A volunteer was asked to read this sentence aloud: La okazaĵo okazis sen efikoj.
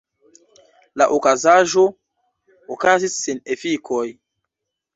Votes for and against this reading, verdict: 1, 2, rejected